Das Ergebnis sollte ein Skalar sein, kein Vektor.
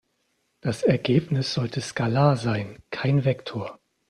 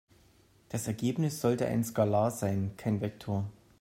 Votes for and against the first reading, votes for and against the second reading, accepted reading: 0, 2, 2, 0, second